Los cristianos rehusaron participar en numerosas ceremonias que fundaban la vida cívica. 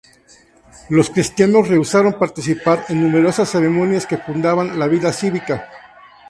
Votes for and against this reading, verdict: 0, 2, rejected